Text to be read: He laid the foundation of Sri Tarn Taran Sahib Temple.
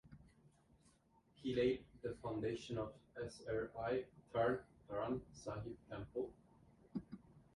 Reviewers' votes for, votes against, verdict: 2, 3, rejected